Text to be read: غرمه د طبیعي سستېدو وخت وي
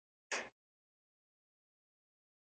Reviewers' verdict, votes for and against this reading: rejected, 0, 2